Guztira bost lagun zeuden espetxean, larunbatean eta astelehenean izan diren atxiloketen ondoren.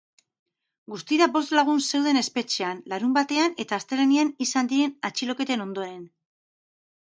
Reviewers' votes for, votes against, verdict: 2, 2, rejected